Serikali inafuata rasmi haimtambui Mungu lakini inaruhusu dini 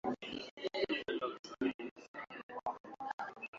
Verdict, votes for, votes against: rejected, 0, 2